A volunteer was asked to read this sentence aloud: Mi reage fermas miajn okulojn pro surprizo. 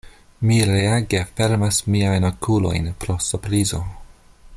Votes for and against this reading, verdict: 2, 1, accepted